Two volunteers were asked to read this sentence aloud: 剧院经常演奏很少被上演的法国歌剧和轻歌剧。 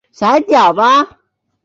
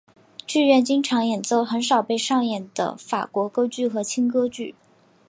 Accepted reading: second